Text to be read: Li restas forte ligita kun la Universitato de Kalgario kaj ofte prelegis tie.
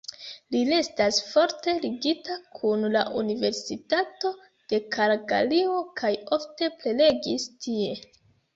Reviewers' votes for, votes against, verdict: 2, 1, accepted